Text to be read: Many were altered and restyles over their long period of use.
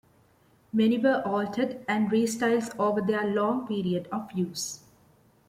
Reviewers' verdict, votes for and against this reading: accepted, 2, 0